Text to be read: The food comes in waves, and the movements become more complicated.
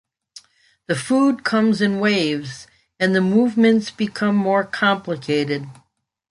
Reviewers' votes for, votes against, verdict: 2, 0, accepted